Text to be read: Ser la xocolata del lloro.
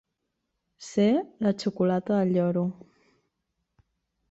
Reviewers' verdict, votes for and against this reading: accepted, 2, 0